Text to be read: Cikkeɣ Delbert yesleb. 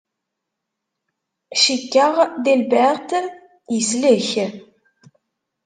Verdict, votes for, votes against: rejected, 1, 2